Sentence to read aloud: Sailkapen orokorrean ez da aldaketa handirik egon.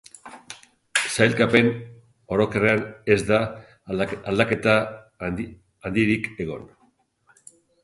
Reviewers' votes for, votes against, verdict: 0, 2, rejected